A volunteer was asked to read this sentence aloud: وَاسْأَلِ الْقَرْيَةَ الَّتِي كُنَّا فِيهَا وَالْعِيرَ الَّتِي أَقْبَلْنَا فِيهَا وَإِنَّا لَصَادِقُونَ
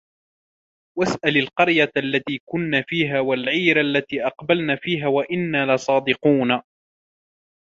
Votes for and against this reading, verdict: 2, 0, accepted